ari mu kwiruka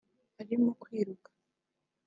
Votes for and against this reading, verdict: 2, 0, accepted